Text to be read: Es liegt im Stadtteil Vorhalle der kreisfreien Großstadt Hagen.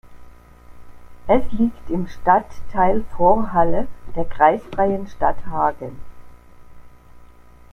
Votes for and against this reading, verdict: 1, 2, rejected